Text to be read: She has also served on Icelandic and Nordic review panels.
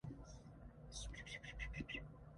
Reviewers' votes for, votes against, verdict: 0, 2, rejected